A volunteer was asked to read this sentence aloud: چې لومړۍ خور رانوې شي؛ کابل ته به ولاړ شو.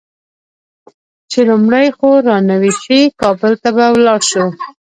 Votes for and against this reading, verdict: 1, 2, rejected